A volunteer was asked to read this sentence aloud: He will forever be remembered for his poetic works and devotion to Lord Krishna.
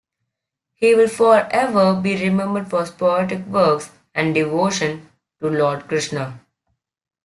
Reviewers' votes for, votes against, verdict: 2, 0, accepted